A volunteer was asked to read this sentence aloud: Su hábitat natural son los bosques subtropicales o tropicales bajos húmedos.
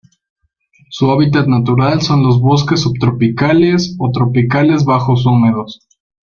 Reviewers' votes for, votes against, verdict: 0, 2, rejected